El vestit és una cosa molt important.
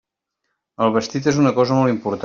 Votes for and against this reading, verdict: 0, 2, rejected